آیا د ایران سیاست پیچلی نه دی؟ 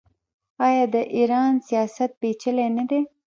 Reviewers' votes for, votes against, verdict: 1, 2, rejected